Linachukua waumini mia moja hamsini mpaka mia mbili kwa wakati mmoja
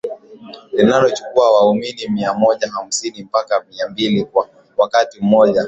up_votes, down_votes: 2, 1